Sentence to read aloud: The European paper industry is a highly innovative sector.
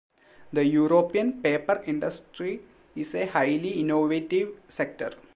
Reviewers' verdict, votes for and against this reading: accepted, 2, 0